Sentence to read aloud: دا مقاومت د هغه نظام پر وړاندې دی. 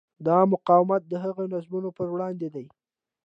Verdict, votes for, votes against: accepted, 2, 0